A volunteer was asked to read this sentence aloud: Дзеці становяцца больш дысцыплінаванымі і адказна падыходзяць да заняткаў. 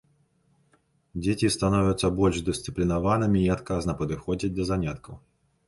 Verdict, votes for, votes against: accepted, 2, 0